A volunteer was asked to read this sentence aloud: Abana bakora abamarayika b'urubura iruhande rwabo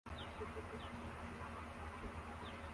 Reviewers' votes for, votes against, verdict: 0, 2, rejected